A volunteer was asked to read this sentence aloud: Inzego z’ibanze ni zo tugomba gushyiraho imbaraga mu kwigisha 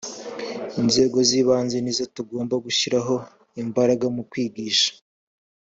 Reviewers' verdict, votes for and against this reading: accepted, 2, 0